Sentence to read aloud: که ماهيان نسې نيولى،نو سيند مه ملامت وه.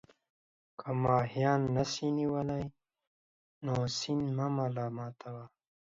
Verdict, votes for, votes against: accepted, 2, 0